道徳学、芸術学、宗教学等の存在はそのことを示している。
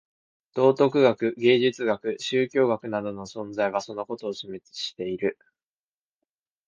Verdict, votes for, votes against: rejected, 1, 2